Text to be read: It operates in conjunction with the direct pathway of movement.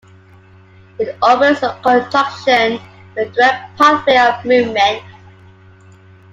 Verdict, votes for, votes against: rejected, 0, 2